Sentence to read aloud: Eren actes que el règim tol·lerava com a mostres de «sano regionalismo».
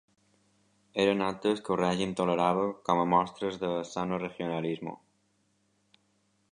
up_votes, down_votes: 2, 0